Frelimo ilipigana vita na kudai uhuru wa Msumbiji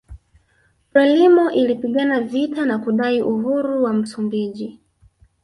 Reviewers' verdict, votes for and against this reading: accepted, 4, 1